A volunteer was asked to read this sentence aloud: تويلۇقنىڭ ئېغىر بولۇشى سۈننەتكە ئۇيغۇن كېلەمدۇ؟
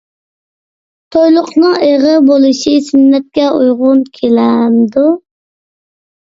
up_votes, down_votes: 2, 0